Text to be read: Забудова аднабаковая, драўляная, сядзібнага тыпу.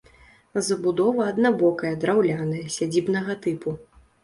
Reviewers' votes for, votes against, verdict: 0, 2, rejected